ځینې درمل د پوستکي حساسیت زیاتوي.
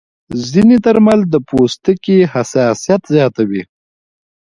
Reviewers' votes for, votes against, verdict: 2, 0, accepted